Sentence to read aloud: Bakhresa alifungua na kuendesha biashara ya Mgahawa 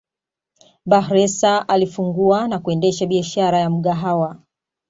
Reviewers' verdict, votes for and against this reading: accepted, 2, 0